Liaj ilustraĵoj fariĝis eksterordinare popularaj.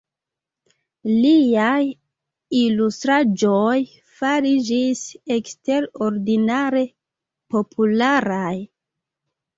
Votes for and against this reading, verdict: 1, 2, rejected